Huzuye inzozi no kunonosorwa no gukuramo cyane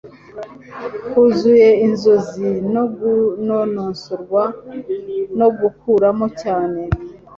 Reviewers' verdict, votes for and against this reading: rejected, 0, 2